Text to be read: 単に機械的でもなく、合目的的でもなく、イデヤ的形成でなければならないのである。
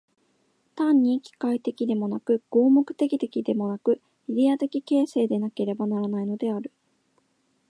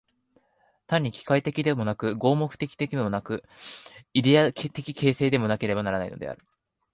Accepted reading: first